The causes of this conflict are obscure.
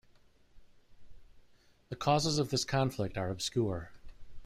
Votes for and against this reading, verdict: 2, 0, accepted